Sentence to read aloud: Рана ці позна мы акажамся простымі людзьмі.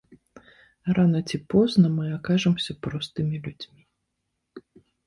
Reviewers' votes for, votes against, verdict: 2, 0, accepted